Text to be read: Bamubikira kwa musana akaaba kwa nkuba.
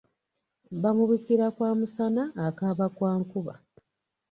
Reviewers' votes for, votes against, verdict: 2, 1, accepted